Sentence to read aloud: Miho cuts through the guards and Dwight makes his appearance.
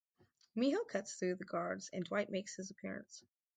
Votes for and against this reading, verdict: 4, 0, accepted